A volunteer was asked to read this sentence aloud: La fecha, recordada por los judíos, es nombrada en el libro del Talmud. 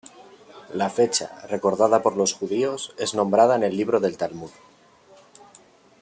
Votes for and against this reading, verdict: 0, 2, rejected